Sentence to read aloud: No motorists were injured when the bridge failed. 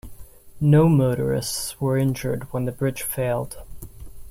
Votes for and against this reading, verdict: 2, 1, accepted